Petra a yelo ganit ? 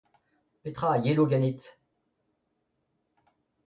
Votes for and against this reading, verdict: 2, 0, accepted